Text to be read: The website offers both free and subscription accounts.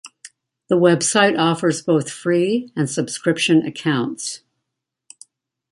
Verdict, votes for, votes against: accepted, 2, 1